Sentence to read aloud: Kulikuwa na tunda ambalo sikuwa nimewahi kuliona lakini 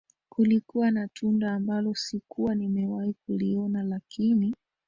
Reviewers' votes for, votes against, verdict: 0, 2, rejected